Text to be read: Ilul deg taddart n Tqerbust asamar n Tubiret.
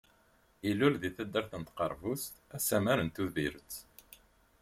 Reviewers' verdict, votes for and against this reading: accepted, 2, 0